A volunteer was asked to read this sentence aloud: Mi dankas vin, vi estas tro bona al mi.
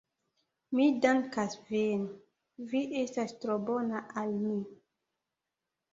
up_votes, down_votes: 1, 2